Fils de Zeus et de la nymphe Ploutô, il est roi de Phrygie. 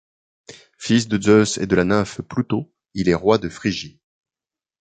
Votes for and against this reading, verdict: 2, 0, accepted